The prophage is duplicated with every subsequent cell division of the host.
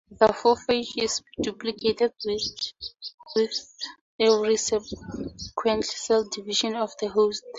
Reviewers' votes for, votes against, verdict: 0, 2, rejected